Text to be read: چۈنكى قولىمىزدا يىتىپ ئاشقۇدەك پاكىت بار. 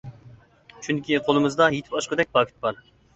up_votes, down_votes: 2, 0